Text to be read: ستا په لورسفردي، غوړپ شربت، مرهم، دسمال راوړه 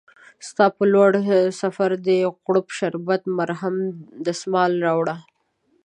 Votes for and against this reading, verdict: 1, 2, rejected